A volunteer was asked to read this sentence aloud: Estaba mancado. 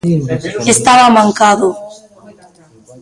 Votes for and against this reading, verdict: 1, 2, rejected